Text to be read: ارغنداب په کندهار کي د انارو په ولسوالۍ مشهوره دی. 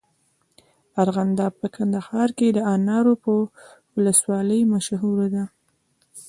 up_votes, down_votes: 2, 1